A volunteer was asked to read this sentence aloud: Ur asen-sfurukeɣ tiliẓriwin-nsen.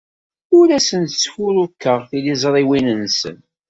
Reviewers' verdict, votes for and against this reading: accepted, 2, 0